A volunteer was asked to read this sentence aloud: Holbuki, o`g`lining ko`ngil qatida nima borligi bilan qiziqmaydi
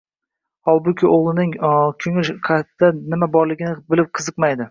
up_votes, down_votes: 0, 2